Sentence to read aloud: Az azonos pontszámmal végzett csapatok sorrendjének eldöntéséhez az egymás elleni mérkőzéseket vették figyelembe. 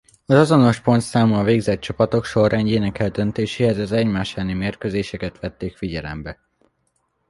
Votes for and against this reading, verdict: 1, 2, rejected